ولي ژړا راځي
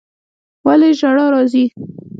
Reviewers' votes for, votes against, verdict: 2, 1, accepted